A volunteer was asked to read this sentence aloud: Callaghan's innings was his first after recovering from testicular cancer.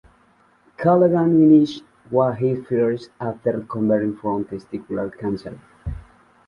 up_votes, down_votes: 1, 2